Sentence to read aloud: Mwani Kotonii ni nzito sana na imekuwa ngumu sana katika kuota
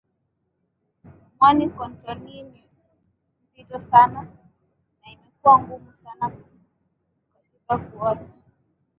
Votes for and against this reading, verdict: 0, 2, rejected